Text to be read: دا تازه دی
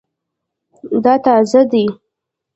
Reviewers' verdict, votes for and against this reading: accepted, 2, 0